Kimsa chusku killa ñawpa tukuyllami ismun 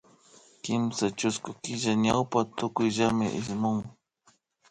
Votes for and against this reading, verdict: 2, 0, accepted